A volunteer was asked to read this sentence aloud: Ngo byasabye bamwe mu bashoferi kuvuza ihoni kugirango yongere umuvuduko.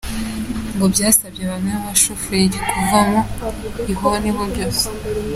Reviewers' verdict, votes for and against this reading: rejected, 0, 3